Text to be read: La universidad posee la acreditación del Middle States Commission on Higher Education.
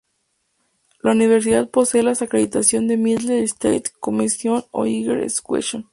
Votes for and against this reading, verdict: 0, 2, rejected